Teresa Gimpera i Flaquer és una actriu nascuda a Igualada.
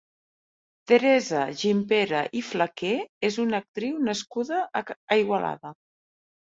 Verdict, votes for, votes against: rejected, 1, 2